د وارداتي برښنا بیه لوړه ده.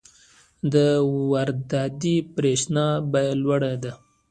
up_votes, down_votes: 2, 1